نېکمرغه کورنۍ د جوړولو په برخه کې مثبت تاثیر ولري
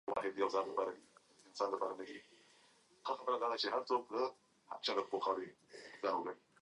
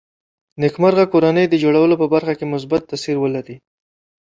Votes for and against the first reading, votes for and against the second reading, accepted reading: 0, 2, 3, 0, second